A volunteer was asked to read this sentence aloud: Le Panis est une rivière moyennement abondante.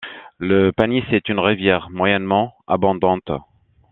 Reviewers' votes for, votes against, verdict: 2, 0, accepted